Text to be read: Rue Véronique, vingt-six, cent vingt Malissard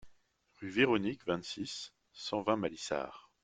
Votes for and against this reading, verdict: 0, 2, rejected